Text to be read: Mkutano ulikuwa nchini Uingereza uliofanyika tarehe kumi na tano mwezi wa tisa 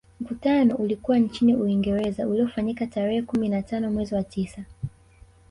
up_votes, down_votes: 0, 2